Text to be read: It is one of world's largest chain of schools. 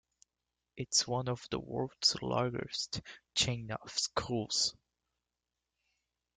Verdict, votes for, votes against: rejected, 0, 2